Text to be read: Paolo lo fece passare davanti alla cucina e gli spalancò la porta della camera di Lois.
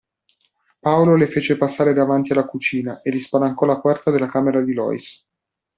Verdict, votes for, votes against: rejected, 1, 2